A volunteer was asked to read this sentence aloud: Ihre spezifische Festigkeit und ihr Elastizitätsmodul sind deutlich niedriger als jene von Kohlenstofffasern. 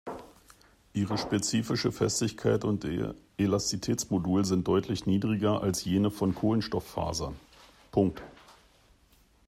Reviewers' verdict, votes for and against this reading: rejected, 1, 2